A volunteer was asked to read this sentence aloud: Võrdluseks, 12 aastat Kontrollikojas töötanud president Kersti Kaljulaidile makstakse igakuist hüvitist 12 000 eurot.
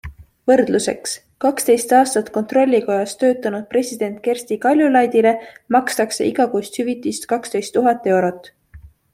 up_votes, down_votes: 0, 2